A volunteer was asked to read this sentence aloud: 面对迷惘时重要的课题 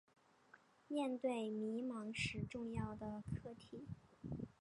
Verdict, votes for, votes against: accepted, 4, 2